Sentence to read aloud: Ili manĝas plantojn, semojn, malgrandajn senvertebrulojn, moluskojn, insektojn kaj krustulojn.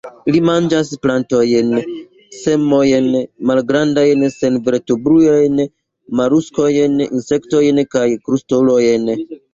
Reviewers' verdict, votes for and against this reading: rejected, 1, 2